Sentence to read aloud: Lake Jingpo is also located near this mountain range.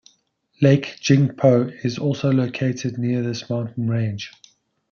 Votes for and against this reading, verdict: 2, 0, accepted